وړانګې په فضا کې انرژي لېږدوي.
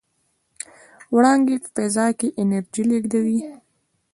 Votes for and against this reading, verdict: 1, 2, rejected